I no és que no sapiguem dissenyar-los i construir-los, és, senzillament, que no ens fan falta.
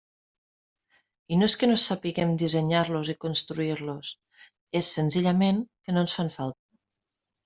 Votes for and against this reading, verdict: 0, 2, rejected